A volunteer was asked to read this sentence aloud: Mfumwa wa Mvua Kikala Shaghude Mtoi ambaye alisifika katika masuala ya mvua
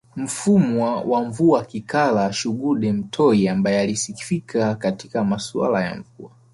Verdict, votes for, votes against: rejected, 0, 2